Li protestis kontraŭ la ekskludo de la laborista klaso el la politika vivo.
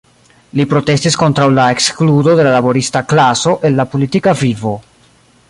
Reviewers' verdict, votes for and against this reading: rejected, 1, 2